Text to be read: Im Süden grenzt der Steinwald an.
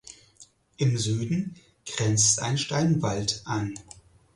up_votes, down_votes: 0, 4